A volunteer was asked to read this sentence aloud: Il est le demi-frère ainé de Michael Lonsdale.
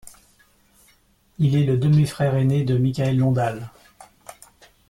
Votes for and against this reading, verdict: 1, 2, rejected